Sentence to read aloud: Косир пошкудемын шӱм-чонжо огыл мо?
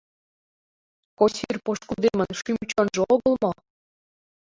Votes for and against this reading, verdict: 1, 2, rejected